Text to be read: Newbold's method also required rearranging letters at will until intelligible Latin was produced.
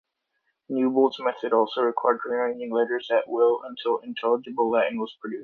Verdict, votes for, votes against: accepted, 2, 0